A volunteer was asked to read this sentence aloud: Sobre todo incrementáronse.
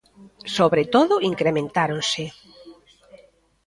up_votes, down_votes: 2, 0